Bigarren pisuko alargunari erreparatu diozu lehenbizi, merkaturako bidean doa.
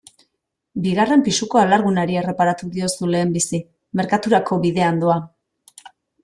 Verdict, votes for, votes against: accepted, 2, 0